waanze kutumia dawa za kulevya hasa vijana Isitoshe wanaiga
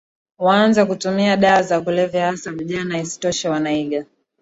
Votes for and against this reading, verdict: 2, 1, accepted